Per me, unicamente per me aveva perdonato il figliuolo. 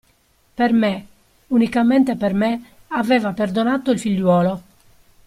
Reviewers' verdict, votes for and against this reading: accepted, 2, 0